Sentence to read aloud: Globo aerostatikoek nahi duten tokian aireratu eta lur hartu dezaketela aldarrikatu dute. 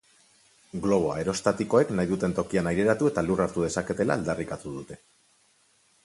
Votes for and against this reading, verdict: 4, 0, accepted